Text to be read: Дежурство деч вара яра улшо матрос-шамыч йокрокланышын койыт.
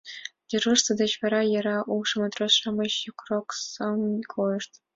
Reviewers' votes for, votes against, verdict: 1, 2, rejected